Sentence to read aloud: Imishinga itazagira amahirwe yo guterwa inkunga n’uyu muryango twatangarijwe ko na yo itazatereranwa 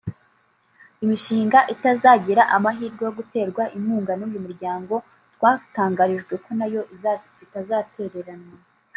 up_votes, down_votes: 0, 2